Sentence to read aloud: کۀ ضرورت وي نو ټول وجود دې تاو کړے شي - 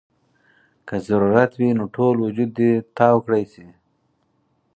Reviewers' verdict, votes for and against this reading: accepted, 4, 0